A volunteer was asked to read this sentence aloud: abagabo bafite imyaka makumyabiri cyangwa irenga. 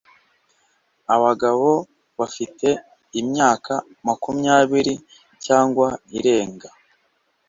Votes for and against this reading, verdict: 3, 0, accepted